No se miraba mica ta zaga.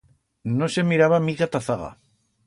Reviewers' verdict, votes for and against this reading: accepted, 2, 0